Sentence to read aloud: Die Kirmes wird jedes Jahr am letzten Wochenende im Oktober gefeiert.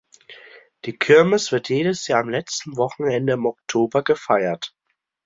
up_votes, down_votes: 2, 0